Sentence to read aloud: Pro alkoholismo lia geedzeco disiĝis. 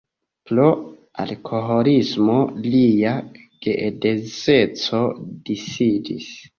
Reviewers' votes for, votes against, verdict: 1, 2, rejected